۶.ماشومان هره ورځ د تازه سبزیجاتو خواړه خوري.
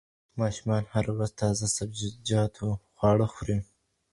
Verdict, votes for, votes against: rejected, 0, 2